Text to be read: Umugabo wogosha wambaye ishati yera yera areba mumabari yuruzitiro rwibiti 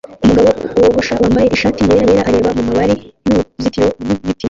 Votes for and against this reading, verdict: 0, 2, rejected